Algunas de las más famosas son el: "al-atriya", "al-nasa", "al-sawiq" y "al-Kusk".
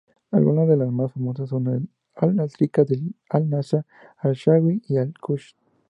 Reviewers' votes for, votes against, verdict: 0, 2, rejected